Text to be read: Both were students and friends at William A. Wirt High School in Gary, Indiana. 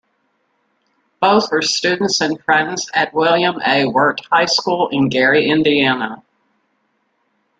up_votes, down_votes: 2, 0